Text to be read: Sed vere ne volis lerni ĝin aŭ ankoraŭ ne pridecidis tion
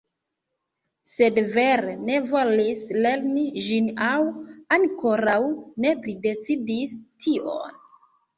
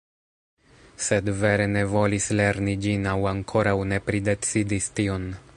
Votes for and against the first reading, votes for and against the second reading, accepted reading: 0, 2, 2, 0, second